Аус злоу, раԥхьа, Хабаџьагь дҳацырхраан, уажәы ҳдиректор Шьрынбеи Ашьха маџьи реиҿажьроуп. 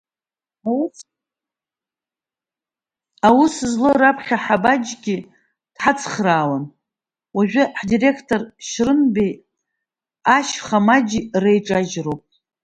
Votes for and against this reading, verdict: 0, 2, rejected